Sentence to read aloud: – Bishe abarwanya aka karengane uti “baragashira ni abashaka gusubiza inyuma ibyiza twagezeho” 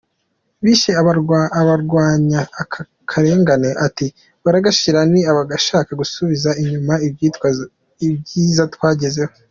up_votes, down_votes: 0, 2